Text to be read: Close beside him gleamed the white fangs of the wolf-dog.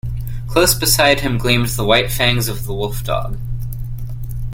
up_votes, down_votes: 0, 2